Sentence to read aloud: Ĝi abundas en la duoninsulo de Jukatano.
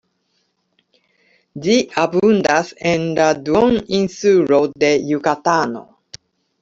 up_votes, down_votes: 2, 0